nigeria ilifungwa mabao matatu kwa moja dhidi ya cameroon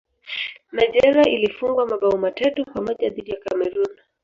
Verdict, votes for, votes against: rejected, 0, 2